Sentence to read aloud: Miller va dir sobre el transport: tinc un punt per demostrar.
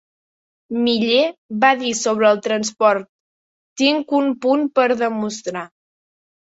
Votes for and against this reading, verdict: 3, 1, accepted